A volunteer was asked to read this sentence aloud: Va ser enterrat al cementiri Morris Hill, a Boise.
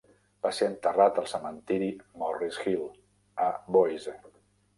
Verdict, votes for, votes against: rejected, 1, 2